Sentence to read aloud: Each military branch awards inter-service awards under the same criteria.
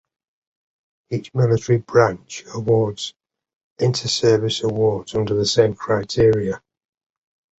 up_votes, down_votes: 2, 0